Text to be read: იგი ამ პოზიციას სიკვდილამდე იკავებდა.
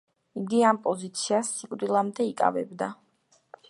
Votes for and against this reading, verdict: 2, 0, accepted